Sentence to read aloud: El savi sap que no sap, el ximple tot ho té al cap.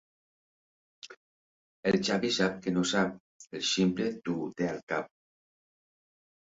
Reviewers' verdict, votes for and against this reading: rejected, 0, 2